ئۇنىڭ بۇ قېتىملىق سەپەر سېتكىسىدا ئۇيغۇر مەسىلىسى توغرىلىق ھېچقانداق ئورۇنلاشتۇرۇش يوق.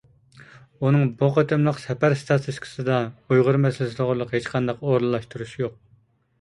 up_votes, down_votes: 0, 2